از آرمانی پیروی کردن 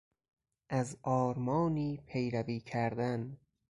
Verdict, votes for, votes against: accepted, 3, 0